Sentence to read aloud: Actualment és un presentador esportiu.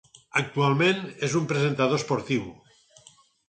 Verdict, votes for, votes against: accepted, 4, 0